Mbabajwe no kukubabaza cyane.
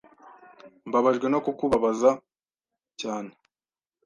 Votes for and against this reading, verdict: 2, 0, accepted